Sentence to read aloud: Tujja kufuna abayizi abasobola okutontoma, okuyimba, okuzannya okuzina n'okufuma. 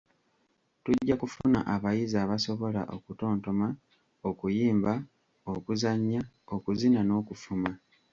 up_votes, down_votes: 0, 2